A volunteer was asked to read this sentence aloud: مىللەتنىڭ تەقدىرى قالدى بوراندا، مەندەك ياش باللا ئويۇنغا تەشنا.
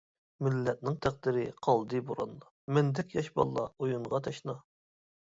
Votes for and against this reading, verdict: 2, 0, accepted